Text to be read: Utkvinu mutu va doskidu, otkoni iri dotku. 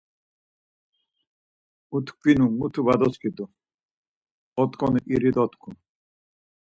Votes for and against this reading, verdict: 4, 0, accepted